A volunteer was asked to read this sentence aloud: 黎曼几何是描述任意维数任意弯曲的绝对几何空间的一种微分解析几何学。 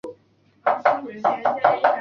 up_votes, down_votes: 0, 3